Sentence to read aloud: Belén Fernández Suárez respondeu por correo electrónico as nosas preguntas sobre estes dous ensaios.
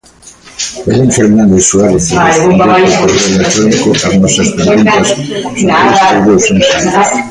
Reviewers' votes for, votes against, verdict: 0, 2, rejected